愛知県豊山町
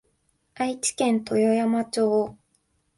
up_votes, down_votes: 4, 1